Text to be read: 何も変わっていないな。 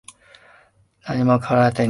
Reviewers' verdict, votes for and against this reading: rejected, 0, 2